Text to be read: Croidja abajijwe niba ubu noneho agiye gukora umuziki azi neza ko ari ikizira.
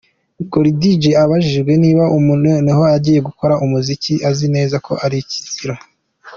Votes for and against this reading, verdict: 2, 1, accepted